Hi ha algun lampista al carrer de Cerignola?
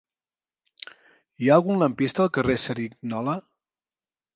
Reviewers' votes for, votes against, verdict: 0, 3, rejected